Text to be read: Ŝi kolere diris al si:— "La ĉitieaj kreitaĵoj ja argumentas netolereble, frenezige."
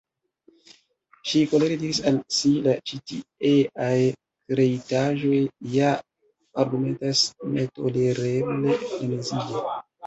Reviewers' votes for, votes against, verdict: 2, 0, accepted